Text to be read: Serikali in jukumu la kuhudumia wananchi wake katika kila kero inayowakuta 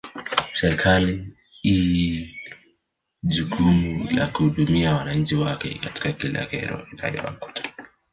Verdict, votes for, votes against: rejected, 0, 2